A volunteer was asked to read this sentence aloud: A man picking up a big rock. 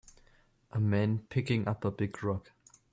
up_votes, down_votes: 3, 0